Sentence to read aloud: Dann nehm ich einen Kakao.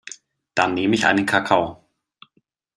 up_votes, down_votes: 2, 0